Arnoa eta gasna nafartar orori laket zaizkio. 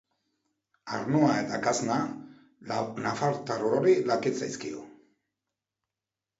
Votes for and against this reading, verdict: 2, 4, rejected